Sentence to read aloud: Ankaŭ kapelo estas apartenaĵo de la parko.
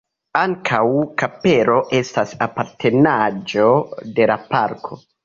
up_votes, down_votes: 1, 2